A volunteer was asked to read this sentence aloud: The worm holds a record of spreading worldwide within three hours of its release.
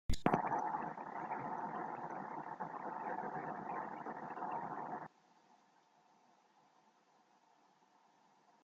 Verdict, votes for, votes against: rejected, 0, 2